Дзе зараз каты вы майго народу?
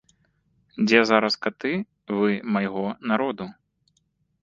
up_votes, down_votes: 1, 2